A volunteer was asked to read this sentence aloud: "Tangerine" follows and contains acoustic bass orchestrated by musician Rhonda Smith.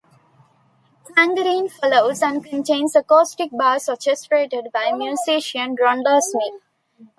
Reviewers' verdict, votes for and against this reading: rejected, 1, 2